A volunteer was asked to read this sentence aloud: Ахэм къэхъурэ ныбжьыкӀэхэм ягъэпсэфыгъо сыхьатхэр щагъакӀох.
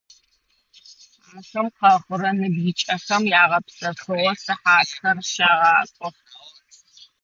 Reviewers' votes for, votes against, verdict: 2, 1, accepted